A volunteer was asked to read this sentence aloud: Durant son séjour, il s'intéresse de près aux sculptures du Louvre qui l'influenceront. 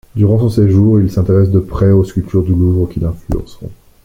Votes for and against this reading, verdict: 1, 2, rejected